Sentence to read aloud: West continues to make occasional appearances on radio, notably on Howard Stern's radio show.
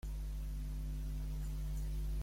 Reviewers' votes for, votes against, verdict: 0, 2, rejected